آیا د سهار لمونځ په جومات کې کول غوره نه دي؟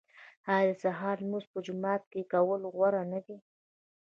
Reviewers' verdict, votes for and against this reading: accepted, 2, 0